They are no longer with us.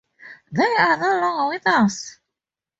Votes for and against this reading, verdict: 2, 0, accepted